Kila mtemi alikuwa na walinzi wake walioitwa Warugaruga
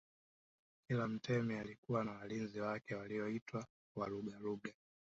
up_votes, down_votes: 2, 3